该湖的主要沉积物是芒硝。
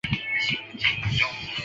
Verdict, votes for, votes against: rejected, 0, 4